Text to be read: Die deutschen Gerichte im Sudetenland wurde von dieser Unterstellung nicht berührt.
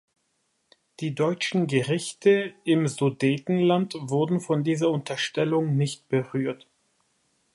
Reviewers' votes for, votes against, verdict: 2, 0, accepted